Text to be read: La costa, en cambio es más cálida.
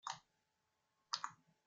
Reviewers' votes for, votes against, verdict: 0, 2, rejected